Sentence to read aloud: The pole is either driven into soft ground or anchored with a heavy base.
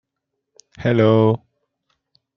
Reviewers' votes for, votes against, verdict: 0, 2, rejected